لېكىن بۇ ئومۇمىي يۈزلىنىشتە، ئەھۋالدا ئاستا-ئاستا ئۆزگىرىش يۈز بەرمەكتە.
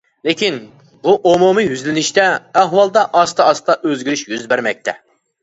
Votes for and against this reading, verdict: 3, 0, accepted